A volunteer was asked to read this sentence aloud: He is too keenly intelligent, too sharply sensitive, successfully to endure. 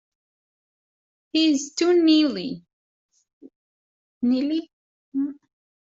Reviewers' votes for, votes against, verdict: 0, 2, rejected